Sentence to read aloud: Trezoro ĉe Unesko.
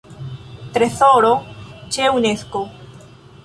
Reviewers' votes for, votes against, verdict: 1, 2, rejected